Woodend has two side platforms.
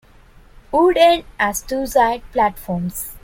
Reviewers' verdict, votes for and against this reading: rejected, 0, 2